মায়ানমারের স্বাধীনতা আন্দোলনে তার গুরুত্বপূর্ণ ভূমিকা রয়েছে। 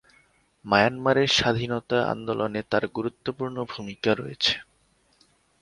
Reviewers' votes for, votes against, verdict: 6, 0, accepted